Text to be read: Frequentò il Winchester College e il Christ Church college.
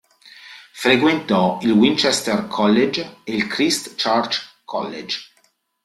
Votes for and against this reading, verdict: 0, 2, rejected